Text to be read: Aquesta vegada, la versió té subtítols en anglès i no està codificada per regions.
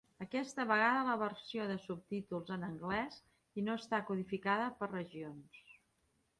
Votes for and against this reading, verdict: 1, 2, rejected